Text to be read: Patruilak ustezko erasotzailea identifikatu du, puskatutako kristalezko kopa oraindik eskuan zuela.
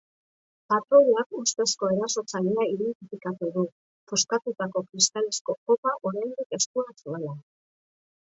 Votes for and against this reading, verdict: 0, 7, rejected